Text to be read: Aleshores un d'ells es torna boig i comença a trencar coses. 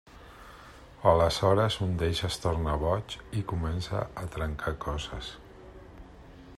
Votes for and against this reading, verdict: 0, 2, rejected